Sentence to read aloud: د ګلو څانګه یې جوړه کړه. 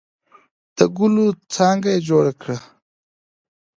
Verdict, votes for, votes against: accepted, 2, 0